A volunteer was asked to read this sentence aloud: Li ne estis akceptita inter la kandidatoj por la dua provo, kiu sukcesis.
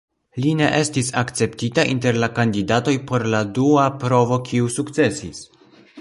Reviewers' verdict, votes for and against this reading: accepted, 2, 0